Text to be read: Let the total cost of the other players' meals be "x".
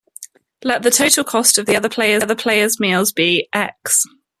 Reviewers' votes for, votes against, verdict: 1, 2, rejected